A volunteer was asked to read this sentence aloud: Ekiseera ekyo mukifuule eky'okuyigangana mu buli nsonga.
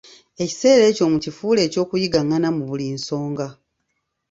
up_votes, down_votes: 2, 0